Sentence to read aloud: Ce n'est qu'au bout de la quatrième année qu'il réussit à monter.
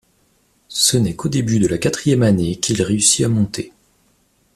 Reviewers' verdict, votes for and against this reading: rejected, 0, 2